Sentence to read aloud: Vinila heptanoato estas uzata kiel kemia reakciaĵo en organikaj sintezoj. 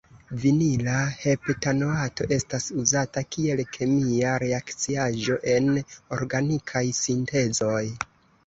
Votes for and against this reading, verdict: 2, 1, accepted